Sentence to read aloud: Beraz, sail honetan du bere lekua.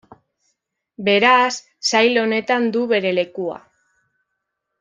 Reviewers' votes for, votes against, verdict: 2, 0, accepted